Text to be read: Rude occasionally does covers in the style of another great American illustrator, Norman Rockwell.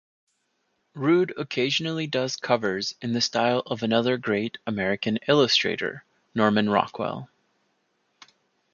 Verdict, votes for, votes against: accepted, 2, 1